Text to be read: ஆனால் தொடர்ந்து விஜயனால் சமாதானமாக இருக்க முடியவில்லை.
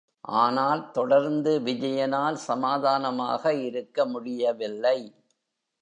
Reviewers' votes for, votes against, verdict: 0, 2, rejected